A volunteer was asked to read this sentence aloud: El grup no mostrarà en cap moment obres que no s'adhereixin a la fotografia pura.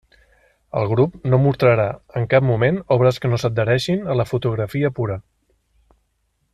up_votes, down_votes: 0, 2